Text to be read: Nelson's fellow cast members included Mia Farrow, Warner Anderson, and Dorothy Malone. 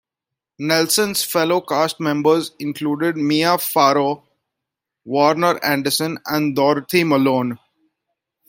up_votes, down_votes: 2, 0